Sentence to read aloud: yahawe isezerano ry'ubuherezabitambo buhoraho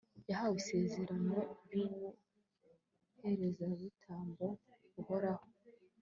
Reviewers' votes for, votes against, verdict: 1, 2, rejected